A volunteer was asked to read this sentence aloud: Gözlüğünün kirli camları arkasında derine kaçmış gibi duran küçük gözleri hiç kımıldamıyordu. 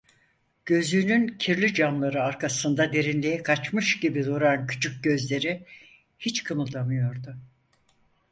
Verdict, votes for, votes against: rejected, 0, 4